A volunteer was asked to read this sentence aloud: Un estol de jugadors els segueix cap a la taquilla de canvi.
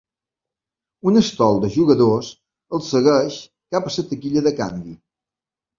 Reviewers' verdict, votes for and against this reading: rejected, 1, 2